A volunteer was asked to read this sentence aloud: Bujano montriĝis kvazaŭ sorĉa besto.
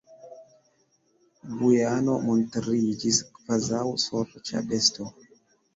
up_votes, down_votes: 1, 2